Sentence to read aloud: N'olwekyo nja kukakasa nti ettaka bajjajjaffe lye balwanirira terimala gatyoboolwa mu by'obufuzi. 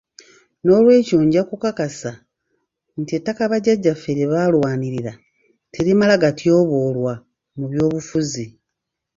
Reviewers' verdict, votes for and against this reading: rejected, 1, 2